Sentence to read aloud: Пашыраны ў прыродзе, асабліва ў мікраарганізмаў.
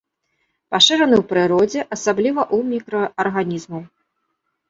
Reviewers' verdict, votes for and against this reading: rejected, 1, 2